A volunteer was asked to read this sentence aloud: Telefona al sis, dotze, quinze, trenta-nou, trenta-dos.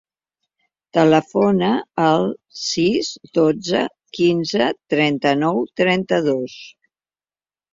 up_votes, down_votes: 3, 0